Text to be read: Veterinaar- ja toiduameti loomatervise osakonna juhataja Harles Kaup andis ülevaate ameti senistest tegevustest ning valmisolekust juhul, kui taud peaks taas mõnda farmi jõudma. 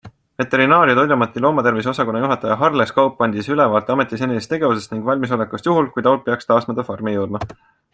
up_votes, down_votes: 2, 0